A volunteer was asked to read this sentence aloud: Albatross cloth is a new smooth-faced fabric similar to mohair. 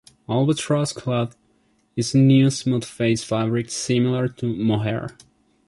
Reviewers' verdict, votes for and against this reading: rejected, 1, 2